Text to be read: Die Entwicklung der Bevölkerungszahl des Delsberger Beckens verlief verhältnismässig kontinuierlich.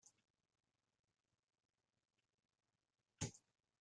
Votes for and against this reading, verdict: 0, 2, rejected